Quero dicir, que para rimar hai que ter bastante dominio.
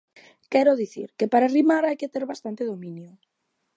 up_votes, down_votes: 2, 0